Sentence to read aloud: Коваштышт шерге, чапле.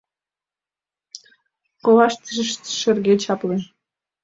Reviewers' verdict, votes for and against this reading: accepted, 2, 1